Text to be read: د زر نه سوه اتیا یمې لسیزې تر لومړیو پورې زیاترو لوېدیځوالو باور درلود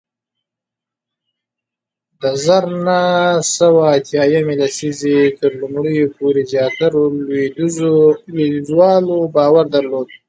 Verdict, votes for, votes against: accepted, 2, 0